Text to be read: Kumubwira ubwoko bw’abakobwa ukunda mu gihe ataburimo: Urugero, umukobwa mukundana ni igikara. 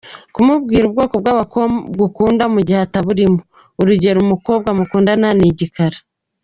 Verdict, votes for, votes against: rejected, 0, 2